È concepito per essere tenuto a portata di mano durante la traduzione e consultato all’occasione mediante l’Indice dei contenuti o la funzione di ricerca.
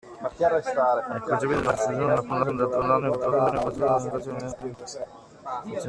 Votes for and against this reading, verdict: 0, 2, rejected